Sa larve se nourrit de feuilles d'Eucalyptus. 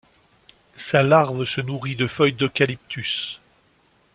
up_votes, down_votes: 2, 0